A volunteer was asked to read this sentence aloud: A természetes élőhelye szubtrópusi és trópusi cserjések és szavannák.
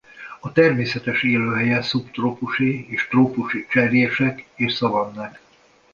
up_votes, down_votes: 2, 0